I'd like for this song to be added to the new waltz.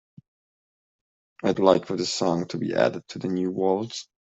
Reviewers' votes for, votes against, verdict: 3, 0, accepted